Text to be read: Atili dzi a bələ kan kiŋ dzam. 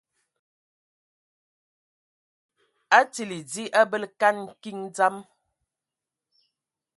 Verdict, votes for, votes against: accepted, 2, 0